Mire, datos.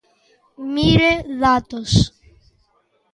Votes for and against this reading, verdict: 2, 0, accepted